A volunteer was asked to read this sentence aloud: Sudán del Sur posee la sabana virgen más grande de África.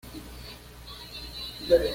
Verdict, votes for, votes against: rejected, 1, 2